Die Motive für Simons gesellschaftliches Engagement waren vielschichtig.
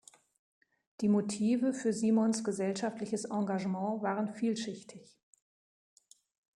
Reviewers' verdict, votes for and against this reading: accepted, 3, 0